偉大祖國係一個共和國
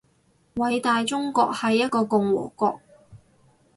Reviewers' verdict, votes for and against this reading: rejected, 0, 2